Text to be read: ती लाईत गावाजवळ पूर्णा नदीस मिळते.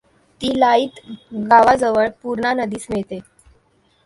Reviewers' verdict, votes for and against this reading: accepted, 2, 0